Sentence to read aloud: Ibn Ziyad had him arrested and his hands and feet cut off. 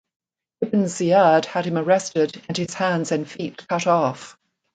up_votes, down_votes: 2, 0